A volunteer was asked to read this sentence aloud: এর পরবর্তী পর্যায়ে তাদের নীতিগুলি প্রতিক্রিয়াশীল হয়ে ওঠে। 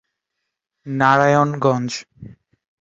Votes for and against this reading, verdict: 0, 2, rejected